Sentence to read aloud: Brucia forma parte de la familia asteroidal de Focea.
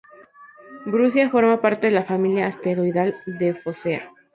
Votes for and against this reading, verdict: 2, 0, accepted